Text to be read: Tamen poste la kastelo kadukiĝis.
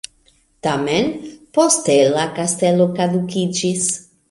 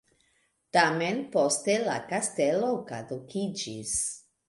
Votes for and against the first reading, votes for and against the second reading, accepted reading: 1, 2, 2, 0, second